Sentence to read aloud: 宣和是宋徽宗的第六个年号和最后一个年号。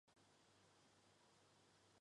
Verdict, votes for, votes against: rejected, 0, 2